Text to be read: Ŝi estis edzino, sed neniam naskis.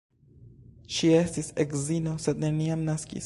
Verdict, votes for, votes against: rejected, 0, 2